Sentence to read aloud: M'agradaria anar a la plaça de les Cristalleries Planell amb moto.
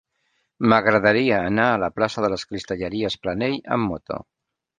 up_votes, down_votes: 2, 0